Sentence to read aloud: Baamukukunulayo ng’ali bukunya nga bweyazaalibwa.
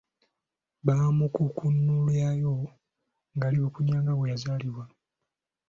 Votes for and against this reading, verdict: 2, 1, accepted